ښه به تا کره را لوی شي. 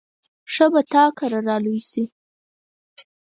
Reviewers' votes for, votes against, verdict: 4, 0, accepted